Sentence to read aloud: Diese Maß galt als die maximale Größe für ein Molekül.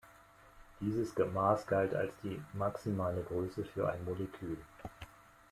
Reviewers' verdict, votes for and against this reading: accepted, 2, 1